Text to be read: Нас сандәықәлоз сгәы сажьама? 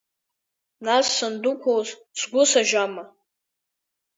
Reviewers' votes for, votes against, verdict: 0, 2, rejected